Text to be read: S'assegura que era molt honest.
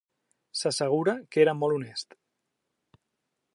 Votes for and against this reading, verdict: 3, 0, accepted